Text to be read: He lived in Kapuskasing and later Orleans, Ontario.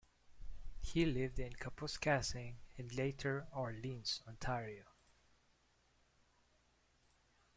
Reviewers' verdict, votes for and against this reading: rejected, 0, 2